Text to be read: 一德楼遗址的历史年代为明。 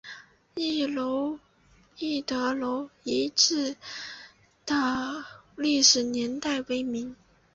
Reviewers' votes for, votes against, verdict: 0, 2, rejected